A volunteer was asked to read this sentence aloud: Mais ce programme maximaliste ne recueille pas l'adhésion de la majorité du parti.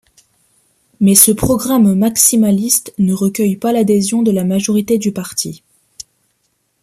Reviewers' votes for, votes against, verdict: 2, 0, accepted